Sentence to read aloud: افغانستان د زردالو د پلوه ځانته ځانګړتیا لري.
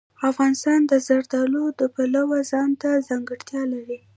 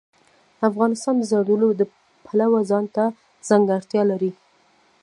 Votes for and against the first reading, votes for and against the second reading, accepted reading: 1, 2, 2, 0, second